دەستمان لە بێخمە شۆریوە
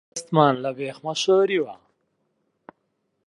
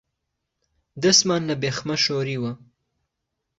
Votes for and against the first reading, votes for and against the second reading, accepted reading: 0, 2, 3, 0, second